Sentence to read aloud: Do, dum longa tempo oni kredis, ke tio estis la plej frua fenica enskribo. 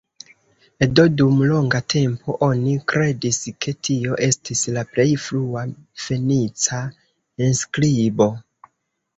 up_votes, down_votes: 1, 2